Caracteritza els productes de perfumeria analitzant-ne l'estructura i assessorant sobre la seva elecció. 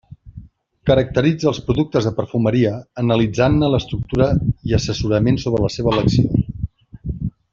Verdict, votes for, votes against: rejected, 0, 2